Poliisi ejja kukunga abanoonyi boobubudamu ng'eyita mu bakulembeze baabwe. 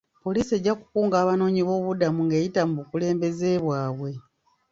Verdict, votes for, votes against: rejected, 0, 2